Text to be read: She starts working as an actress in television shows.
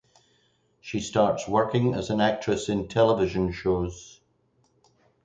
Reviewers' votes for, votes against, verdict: 4, 0, accepted